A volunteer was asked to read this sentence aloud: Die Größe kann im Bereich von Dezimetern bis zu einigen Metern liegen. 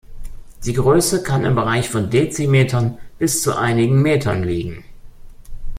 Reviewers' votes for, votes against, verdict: 2, 0, accepted